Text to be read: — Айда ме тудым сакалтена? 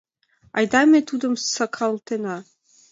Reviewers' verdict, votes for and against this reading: accepted, 2, 0